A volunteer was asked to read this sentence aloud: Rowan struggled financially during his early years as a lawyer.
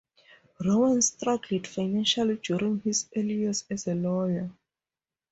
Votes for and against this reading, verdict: 0, 2, rejected